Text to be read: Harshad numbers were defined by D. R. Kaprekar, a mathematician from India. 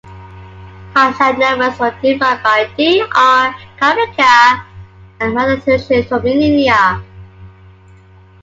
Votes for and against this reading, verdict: 0, 2, rejected